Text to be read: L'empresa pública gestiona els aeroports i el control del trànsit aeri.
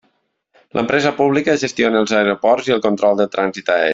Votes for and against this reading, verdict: 1, 2, rejected